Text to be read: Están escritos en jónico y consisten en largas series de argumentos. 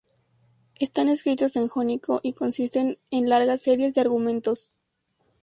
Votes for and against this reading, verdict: 2, 0, accepted